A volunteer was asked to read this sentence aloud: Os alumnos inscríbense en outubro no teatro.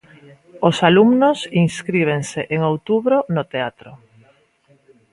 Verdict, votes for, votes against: accepted, 2, 0